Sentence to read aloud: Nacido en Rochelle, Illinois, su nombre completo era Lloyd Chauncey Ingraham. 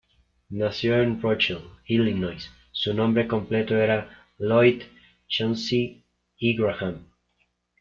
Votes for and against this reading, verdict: 1, 2, rejected